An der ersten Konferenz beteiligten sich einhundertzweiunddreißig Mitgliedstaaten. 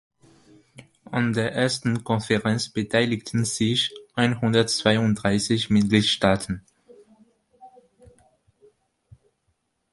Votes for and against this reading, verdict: 2, 1, accepted